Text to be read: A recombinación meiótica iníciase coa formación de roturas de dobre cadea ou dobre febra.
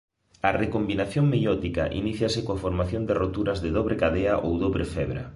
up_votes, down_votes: 2, 0